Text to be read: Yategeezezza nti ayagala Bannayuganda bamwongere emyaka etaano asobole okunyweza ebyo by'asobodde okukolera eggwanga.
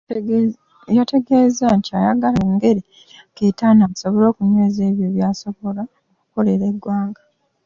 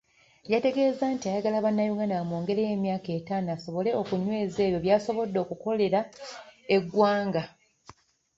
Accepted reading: second